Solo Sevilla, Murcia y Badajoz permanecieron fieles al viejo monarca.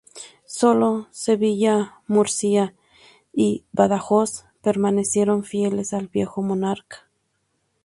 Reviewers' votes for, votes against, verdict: 2, 2, rejected